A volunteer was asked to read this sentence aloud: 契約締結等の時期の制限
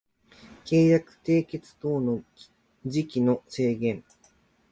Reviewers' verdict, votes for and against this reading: accepted, 2, 0